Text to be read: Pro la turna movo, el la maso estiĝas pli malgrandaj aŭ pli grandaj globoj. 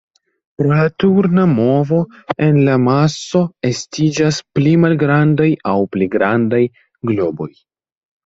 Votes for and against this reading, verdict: 1, 2, rejected